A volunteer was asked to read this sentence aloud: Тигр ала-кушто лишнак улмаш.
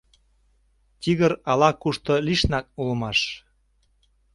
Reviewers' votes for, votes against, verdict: 2, 0, accepted